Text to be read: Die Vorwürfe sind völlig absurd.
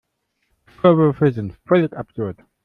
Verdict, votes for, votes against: rejected, 0, 2